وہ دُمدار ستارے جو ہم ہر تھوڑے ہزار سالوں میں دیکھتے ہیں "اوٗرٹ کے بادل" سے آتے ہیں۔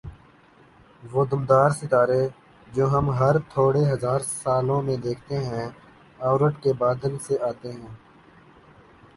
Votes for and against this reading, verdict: 2, 0, accepted